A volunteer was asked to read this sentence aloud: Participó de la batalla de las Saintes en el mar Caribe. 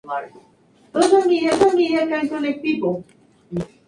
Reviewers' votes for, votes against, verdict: 0, 2, rejected